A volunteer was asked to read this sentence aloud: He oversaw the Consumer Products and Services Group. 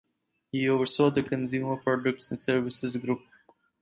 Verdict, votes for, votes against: accepted, 4, 0